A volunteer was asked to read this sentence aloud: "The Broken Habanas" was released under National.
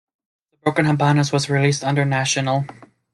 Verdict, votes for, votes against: accepted, 2, 1